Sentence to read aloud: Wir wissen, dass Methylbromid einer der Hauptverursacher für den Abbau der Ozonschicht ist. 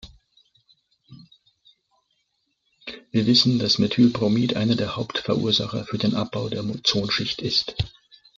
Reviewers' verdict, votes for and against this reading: accepted, 2, 1